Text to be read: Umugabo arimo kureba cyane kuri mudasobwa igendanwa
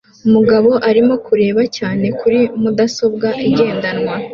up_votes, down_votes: 2, 0